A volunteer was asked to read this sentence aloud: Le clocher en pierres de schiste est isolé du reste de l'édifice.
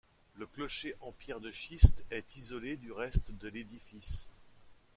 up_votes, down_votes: 2, 0